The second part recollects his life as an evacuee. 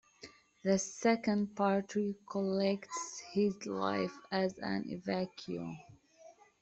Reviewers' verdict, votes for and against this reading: rejected, 1, 2